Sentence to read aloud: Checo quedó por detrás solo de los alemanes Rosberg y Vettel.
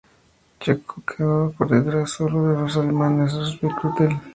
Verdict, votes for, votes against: accepted, 2, 0